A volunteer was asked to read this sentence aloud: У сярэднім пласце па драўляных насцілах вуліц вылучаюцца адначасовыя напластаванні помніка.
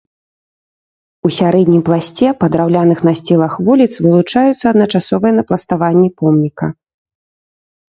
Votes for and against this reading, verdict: 2, 0, accepted